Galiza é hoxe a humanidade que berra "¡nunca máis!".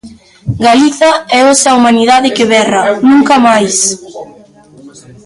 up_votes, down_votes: 0, 2